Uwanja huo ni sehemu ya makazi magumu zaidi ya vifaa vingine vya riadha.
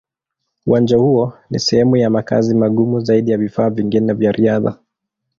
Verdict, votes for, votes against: accepted, 2, 0